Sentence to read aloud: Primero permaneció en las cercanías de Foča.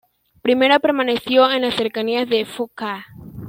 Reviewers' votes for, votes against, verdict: 2, 1, accepted